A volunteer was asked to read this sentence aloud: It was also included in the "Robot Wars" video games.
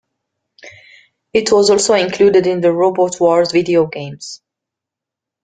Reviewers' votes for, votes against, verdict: 2, 0, accepted